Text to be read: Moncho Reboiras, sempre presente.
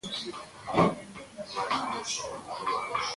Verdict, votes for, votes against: rejected, 0, 2